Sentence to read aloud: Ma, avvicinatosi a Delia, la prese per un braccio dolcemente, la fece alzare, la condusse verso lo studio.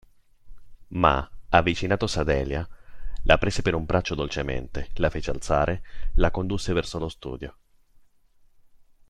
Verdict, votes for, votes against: accepted, 2, 0